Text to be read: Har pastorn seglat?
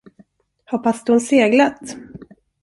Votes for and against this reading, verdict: 2, 0, accepted